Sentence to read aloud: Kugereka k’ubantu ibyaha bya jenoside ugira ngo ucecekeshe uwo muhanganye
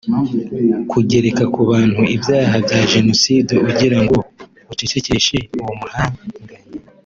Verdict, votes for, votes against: accepted, 2, 1